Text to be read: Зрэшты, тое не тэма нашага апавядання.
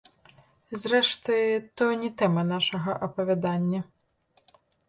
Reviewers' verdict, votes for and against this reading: rejected, 2, 3